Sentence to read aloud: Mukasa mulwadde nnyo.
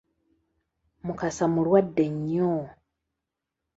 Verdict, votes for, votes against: accepted, 2, 0